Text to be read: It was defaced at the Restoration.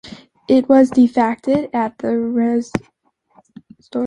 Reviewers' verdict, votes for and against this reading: rejected, 0, 3